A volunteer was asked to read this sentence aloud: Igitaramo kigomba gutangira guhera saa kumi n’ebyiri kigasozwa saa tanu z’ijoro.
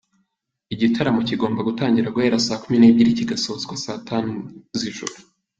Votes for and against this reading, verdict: 2, 0, accepted